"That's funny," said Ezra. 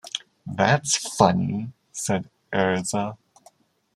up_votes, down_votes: 0, 2